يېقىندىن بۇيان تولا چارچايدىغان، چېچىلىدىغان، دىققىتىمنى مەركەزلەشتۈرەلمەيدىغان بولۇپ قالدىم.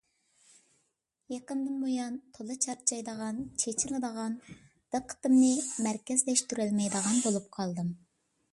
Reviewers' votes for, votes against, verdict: 2, 0, accepted